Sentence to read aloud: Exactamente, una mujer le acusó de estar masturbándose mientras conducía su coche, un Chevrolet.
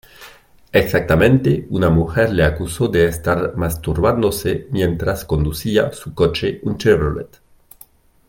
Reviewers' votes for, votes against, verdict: 2, 0, accepted